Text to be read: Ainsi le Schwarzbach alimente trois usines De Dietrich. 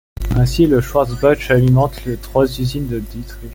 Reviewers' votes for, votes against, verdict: 1, 2, rejected